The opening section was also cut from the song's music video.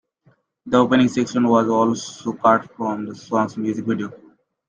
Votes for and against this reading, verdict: 1, 3, rejected